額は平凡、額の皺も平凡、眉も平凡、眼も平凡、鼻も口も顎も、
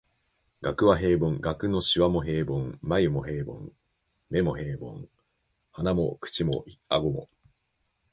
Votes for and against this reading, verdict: 1, 3, rejected